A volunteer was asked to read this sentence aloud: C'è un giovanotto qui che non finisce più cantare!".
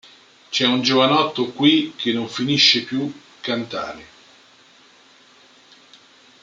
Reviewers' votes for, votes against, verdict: 0, 2, rejected